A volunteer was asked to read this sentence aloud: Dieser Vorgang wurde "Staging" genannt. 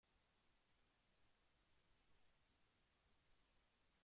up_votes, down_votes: 0, 2